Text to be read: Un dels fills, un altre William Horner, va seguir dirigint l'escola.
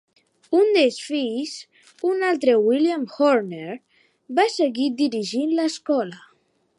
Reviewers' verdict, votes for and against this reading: accepted, 2, 0